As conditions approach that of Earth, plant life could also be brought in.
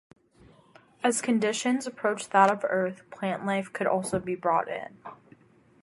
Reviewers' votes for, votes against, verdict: 2, 0, accepted